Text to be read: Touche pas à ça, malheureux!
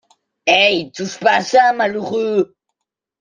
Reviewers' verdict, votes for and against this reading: rejected, 0, 2